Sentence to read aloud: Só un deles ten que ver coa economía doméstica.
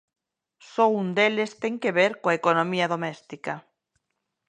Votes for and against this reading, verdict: 2, 0, accepted